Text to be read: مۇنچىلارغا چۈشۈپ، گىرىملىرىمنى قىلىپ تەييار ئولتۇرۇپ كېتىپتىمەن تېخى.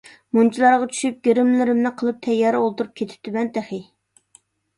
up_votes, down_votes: 2, 0